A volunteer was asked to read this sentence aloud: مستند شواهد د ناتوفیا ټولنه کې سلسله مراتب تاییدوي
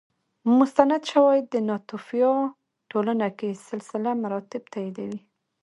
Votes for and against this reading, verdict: 0, 2, rejected